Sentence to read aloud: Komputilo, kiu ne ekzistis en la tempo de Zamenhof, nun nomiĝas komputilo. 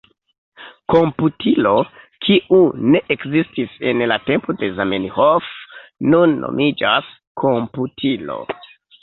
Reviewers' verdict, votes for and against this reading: accepted, 2, 1